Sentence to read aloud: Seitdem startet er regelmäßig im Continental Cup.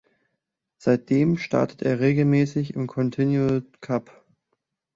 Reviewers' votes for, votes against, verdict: 1, 2, rejected